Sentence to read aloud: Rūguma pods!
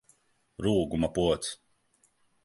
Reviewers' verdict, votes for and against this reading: accepted, 3, 0